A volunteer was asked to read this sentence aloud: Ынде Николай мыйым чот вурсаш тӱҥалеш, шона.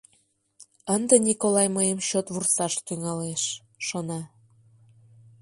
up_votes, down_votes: 2, 0